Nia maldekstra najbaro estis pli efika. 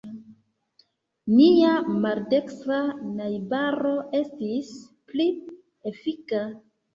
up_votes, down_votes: 2, 0